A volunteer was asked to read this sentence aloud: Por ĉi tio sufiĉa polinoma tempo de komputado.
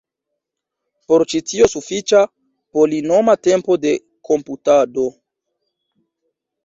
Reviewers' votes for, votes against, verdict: 1, 2, rejected